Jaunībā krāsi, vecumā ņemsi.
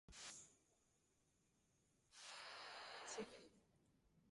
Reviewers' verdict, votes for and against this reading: rejected, 0, 2